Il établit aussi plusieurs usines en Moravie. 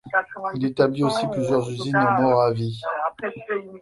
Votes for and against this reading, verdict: 2, 0, accepted